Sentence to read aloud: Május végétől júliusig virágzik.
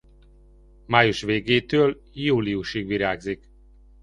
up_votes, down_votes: 2, 0